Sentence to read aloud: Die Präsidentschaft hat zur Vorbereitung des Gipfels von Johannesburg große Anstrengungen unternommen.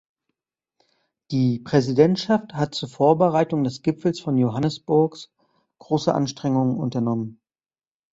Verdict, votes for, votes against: rejected, 0, 2